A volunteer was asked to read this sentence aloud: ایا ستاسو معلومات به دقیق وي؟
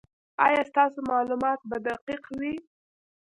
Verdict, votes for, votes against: accepted, 2, 1